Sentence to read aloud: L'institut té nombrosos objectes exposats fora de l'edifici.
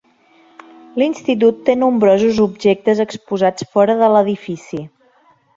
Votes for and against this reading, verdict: 2, 0, accepted